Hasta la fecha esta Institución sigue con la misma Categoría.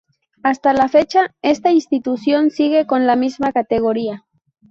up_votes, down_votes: 2, 0